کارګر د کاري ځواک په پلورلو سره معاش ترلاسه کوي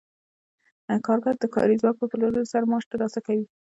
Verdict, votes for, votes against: accepted, 2, 0